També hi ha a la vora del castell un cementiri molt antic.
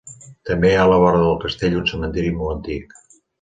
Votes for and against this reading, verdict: 2, 0, accepted